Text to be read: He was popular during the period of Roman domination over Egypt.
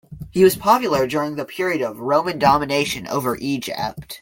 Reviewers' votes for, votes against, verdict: 1, 2, rejected